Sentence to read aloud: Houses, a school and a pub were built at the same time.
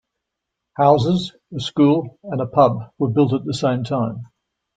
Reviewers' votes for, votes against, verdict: 2, 0, accepted